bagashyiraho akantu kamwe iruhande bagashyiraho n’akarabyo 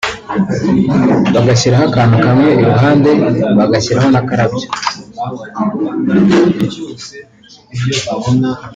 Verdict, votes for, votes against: accepted, 2, 0